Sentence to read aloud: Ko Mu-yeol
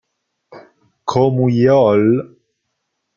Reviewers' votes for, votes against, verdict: 0, 2, rejected